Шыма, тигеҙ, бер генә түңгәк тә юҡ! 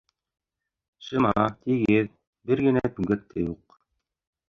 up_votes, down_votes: 1, 2